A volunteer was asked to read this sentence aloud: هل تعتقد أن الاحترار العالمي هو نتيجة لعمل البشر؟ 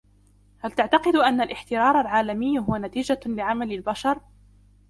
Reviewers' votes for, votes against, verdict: 2, 0, accepted